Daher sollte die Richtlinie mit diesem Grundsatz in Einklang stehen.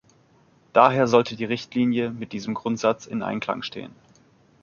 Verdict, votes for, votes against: accepted, 4, 0